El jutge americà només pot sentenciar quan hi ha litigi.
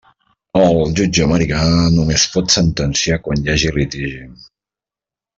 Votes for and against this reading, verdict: 1, 2, rejected